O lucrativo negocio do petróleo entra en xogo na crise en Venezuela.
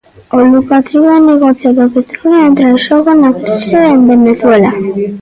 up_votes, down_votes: 0, 2